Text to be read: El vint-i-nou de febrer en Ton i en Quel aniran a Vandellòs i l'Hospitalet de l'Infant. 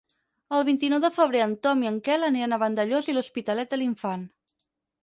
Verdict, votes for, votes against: accepted, 4, 0